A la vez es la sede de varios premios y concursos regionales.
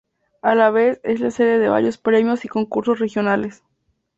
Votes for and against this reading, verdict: 2, 0, accepted